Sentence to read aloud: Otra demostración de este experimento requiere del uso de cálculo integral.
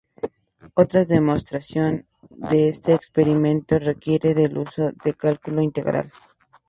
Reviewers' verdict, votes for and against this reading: accepted, 4, 0